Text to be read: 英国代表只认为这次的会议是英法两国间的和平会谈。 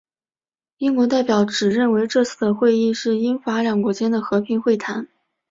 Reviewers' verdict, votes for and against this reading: accepted, 2, 0